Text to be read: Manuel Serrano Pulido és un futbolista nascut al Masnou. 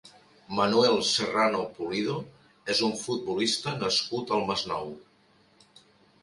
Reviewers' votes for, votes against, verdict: 3, 0, accepted